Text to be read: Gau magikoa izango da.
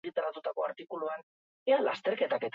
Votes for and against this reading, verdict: 0, 2, rejected